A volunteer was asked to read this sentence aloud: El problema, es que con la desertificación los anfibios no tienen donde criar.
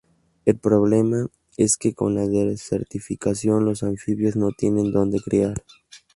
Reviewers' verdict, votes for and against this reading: rejected, 0, 2